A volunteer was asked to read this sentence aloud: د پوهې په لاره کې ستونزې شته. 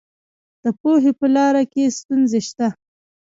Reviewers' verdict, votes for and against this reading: rejected, 0, 2